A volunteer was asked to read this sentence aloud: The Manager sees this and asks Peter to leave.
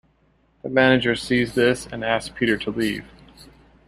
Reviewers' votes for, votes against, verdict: 2, 0, accepted